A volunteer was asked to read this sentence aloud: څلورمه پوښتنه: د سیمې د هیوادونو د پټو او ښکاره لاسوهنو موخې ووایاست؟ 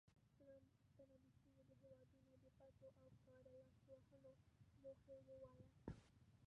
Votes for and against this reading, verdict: 0, 2, rejected